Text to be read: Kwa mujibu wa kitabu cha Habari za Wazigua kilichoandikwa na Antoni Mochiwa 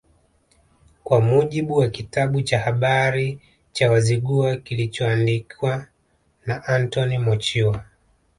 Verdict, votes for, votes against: rejected, 1, 2